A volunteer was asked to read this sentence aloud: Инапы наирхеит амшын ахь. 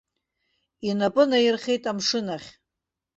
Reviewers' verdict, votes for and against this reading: accepted, 3, 0